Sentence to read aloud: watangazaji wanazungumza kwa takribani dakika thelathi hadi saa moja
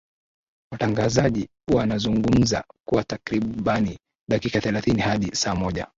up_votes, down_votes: 2, 0